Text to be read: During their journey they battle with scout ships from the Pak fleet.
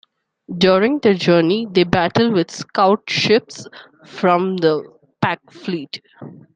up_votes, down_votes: 2, 0